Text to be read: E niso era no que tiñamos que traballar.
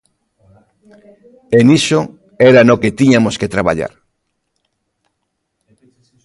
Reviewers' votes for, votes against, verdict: 0, 2, rejected